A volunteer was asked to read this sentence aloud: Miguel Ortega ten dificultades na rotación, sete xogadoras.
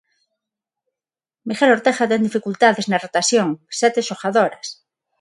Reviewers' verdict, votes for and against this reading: accepted, 6, 0